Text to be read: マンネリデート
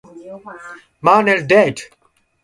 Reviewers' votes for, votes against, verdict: 2, 0, accepted